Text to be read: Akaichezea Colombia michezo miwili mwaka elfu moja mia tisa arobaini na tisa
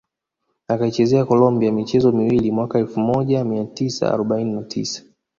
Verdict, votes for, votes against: rejected, 0, 2